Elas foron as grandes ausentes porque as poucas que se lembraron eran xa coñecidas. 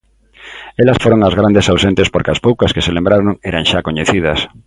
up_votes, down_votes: 2, 0